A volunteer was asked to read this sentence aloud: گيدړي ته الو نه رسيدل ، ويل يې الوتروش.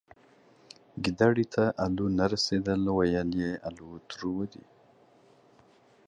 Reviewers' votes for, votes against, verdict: 2, 1, accepted